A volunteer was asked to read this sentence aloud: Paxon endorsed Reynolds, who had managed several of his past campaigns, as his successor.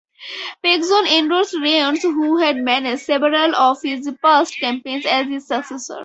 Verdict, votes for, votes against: rejected, 0, 4